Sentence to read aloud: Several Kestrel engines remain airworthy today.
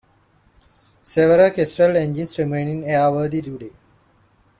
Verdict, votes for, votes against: rejected, 0, 2